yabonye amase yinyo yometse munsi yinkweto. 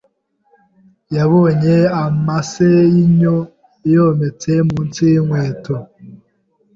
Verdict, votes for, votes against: accepted, 2, 0